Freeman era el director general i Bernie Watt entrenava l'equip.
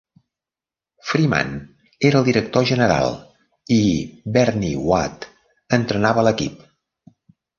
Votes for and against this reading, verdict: 2, 0, accepted